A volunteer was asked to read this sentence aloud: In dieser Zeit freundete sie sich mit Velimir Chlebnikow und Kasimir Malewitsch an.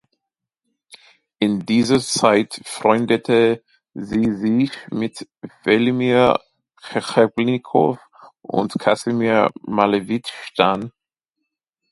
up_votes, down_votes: 1, 2